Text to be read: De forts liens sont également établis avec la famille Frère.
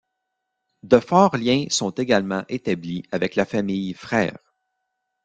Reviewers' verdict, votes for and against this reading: rejected, 1, 2